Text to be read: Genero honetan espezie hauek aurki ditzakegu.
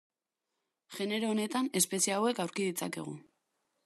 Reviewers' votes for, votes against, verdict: 2, 0, accepted